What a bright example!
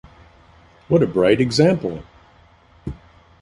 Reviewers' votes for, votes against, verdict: 2, 0, accepted